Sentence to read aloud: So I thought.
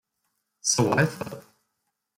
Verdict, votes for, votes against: accepted, 2, 0